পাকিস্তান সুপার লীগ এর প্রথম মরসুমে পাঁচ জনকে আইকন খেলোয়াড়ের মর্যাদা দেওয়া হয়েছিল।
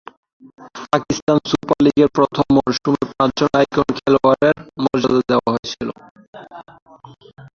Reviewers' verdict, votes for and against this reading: rejected, 0, 3